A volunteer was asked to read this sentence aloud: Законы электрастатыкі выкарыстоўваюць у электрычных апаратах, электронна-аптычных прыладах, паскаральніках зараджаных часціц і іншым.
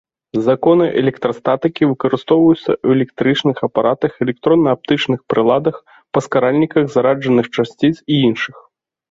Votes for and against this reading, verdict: 0, 2, rejected